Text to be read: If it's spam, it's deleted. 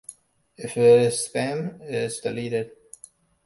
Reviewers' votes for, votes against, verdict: 2, 1, accepted